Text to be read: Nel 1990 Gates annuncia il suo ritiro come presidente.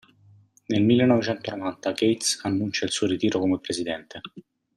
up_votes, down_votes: 0, 2